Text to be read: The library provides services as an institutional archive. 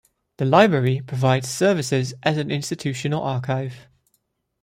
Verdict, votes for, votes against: accepted, 2, 0